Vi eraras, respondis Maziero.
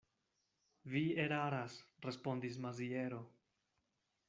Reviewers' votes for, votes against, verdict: 2, 0, accepted